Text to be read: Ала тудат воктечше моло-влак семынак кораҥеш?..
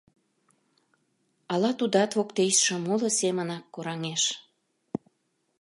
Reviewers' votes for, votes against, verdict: 0, 2, rejected